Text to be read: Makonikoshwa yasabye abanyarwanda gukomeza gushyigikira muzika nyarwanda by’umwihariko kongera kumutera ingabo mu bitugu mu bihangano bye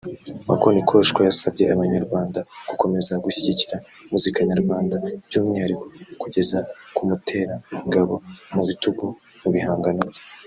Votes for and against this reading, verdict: 1, 2, rejected